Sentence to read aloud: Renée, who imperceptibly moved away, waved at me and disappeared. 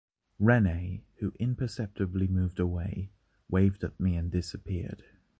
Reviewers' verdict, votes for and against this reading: accepted, 2, 0